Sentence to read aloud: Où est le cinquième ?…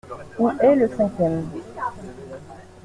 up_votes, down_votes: 2, 1